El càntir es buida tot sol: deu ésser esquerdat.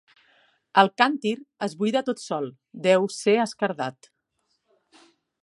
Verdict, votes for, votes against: rejected, 0, 3